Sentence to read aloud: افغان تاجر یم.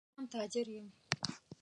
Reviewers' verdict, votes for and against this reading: rejected, 1, 2